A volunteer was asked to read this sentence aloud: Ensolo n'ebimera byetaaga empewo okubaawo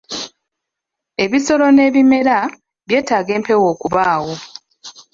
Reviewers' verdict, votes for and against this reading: rejected, 0, 2